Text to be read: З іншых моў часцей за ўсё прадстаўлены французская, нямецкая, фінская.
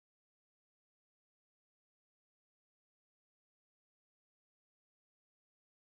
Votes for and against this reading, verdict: 0, 2, rejected